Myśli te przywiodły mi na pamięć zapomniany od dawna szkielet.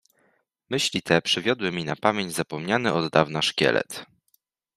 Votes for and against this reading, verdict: 2, 0, accepted